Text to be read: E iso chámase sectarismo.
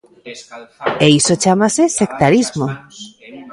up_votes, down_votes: 0, 2